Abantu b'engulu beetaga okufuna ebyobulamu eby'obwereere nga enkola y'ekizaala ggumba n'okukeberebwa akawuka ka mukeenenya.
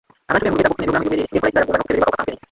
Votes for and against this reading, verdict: 0, 2, rejected